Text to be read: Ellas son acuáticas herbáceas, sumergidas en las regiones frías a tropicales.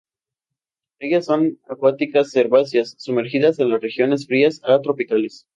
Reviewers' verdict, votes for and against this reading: accepted, 2, 0